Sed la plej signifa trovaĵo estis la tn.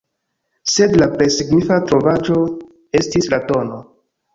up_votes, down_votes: 0, 2